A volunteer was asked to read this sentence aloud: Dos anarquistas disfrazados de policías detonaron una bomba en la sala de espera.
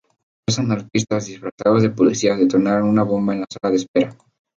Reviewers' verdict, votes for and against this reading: accepted, 2, 0